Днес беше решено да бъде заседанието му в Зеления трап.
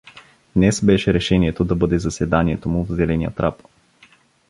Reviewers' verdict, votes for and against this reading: rejected, 1, 2